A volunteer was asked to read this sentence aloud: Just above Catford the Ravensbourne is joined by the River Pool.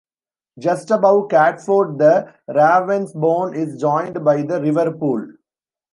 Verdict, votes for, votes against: rejected, 0, 2